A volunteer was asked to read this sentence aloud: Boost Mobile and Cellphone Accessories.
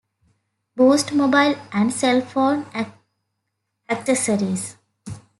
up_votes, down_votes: 0, 2